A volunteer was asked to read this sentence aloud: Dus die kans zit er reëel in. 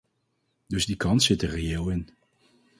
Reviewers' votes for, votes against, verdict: 2, 2, rejected